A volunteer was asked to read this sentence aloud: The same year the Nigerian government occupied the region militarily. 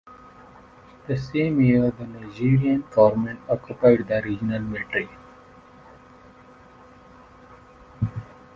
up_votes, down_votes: 0, 2